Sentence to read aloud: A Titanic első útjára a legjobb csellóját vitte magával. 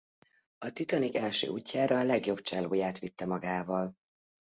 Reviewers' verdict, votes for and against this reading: accepted, 2, 0